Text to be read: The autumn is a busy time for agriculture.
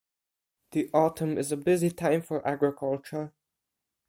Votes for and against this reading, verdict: 0, 4, rejected